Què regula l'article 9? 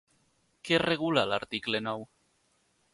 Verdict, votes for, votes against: rejected, 0, 2